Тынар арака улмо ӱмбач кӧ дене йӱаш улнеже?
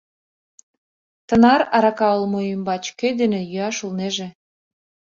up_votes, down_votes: 2, 0